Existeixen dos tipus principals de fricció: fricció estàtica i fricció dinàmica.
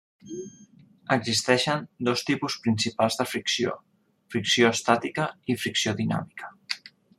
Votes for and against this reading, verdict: 3, 1, accepted